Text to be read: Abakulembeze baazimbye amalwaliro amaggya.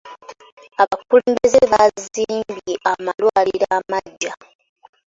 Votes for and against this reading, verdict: 2, 0, accepted